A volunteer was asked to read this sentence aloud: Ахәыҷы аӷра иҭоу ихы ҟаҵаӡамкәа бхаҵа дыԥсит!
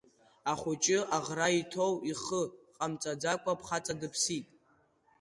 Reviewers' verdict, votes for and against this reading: rejected, 0, 2